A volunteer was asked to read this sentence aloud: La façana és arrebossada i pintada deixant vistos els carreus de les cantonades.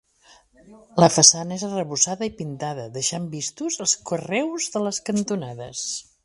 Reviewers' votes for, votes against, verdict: 2, 1, accepted